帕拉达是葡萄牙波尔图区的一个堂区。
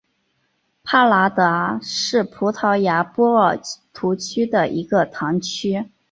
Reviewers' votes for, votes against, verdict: 6, 1, accepted